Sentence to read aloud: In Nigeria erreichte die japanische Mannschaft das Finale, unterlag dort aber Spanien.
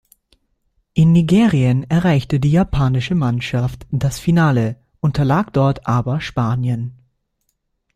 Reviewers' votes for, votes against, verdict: 0, 2, rejected